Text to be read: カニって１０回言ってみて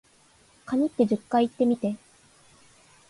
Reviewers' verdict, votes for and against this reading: rejected, 0, 2